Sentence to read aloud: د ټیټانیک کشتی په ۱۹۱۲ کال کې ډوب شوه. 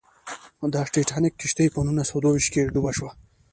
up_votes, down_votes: 0, 2